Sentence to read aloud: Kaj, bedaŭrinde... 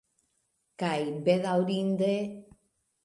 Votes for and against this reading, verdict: 2, 0, accepted